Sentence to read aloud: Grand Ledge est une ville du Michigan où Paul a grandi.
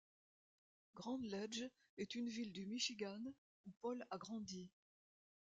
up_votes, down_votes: 2, 0